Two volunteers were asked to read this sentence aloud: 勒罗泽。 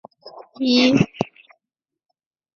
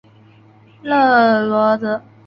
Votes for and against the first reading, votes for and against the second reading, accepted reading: 0, 2, 2, 0, second